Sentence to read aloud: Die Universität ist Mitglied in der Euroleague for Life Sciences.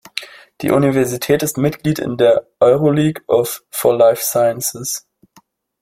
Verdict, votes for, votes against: rejected, 0, 2